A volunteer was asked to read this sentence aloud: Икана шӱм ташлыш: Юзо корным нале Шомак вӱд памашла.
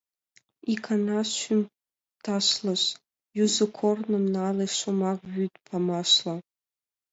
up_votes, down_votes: 2, 1